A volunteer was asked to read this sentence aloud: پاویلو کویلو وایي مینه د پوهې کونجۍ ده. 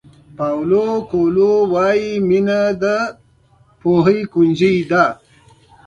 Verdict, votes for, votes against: rejected, 1, 2